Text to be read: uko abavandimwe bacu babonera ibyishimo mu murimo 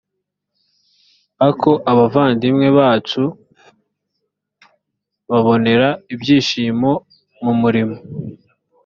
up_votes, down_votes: 0, 2